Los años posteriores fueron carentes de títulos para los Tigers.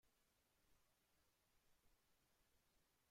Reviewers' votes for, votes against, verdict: 0, 2, rejected